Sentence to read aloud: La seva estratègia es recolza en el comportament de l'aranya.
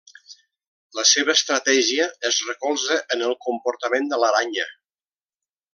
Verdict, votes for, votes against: accepted, 2, 0